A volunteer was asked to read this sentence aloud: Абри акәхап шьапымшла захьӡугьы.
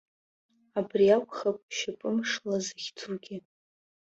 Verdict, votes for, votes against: rejected, 1, 2